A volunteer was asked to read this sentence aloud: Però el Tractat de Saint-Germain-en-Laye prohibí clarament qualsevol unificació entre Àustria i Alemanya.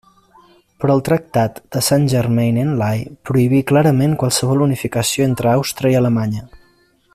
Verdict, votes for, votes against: accepted, 2, 0